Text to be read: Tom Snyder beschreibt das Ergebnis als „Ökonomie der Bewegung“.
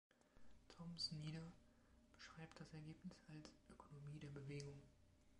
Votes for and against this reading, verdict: 1, 2, rejected